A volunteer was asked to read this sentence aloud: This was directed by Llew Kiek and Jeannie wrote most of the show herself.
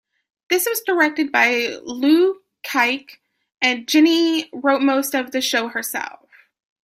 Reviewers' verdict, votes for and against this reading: rejected, 2, 3